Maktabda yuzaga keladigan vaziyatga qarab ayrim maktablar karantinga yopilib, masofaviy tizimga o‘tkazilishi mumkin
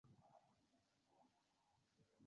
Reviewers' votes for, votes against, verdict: 0, 2, rejected